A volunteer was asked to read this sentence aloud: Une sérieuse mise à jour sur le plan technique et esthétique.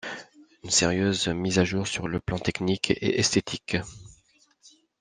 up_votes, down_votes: 2, 0